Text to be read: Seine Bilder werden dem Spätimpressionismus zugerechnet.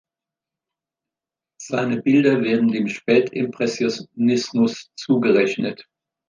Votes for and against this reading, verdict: 0, 2, rejected